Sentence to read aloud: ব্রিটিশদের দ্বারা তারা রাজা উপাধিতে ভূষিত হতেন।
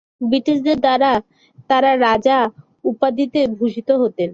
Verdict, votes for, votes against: accepted, 3, 0